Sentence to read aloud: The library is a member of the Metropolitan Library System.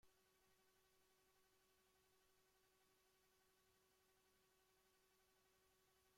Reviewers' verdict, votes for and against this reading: rejected, 0, 2